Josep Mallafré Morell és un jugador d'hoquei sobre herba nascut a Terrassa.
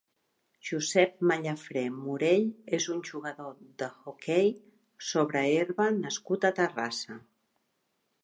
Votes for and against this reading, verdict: 1, 2, rejected